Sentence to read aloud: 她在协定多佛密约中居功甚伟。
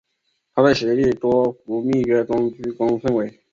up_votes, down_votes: 3, 0